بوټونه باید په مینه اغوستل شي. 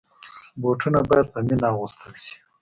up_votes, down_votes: 2, 0